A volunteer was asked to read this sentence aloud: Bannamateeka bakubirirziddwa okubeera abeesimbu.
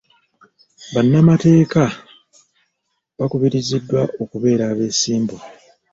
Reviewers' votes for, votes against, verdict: 1, 2, rejected